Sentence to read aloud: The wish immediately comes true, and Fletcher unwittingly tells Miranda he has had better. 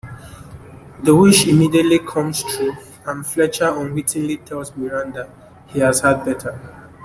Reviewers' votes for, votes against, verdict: 2, 1, accepted